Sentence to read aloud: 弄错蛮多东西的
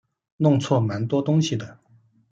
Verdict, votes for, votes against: accepted, 2, 0